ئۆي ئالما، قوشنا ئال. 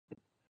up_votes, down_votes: 0, 2